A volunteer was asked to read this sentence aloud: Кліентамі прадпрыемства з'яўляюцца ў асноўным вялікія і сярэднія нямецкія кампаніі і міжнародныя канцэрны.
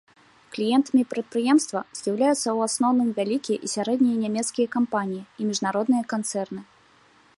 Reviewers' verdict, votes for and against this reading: accepted, 2, 0